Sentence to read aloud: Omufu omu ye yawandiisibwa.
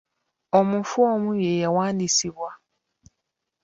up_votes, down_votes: 2, 0